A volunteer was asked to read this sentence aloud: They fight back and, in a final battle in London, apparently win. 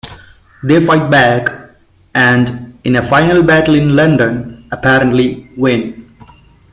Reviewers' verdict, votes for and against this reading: accepted, 2, 0